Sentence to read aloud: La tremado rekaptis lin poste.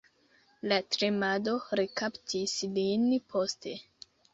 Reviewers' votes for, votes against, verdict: 2, 0, accepted